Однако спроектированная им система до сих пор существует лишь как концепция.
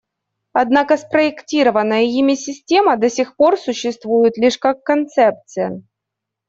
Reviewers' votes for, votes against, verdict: 1, 2, rejected